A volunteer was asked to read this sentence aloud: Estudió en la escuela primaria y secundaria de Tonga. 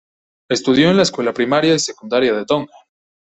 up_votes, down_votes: 1, 2